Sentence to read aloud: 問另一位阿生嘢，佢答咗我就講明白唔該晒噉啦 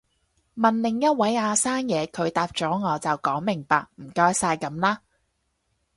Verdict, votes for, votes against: rejected, 2, 2